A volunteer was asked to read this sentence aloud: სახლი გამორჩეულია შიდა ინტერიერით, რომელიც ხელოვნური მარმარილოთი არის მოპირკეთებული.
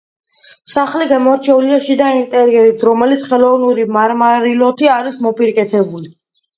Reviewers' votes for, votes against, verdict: 2, 0, accepted